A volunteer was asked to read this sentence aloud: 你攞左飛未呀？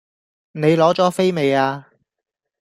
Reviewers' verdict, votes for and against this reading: accepted, 2, 0